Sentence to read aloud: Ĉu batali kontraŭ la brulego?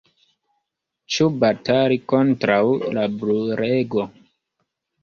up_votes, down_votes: 1, 2